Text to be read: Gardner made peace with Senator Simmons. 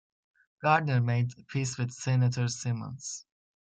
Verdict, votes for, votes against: accepted, 2, 1